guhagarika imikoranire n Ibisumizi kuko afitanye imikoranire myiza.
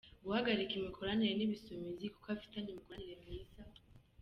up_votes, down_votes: 2, 0